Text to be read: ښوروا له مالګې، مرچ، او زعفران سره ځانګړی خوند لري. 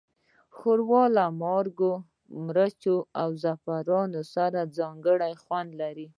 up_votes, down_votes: 1, 2